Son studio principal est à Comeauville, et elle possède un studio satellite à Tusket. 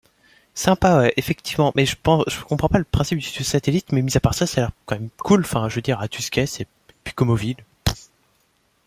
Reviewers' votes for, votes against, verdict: 0, 2, rejected